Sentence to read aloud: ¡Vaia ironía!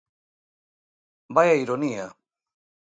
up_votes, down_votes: 2, 0